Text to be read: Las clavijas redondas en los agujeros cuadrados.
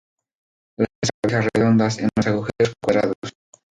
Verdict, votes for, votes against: rejected, 0, 2